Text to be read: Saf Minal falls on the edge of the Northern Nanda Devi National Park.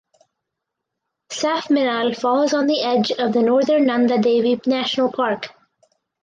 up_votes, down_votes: 4, 0